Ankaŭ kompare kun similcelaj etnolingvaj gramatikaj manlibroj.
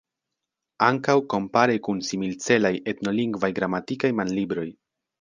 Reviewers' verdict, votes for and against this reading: accepted, 2, 0